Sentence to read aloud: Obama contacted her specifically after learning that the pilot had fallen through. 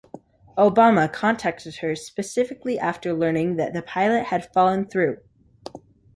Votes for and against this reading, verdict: 2, 0, accepted